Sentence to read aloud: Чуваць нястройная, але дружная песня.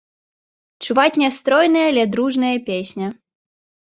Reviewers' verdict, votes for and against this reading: accepted, 2, 0